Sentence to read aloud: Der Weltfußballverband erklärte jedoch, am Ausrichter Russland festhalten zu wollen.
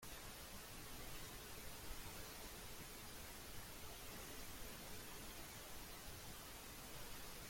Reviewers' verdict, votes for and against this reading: rejected, 0, 2